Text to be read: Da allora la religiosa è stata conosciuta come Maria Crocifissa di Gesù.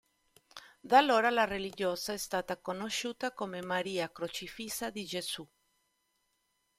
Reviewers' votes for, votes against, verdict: 2, 0, accepted